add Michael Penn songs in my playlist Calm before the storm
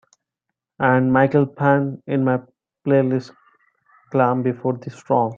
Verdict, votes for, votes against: rejected, 0, 3